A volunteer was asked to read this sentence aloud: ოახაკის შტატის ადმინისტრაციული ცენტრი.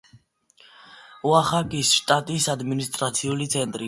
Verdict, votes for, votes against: accepted, 2, 0